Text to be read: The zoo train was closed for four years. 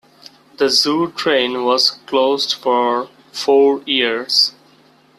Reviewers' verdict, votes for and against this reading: accepted, 2, 0